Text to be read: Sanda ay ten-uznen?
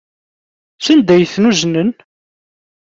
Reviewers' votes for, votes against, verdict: 2, 0, accepted